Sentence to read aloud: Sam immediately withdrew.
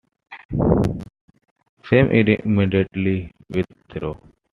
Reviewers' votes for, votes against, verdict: 0, 2, rejected